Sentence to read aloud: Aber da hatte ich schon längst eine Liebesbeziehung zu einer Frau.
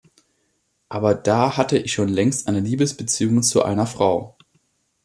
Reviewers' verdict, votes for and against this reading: accepted, 2, 0